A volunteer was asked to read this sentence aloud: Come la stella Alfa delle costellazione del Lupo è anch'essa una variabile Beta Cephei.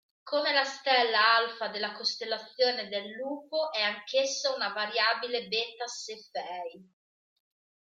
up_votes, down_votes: 0, 2